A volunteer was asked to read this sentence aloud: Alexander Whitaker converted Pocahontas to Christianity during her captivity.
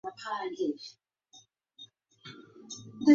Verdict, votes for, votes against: accepted, 2, 0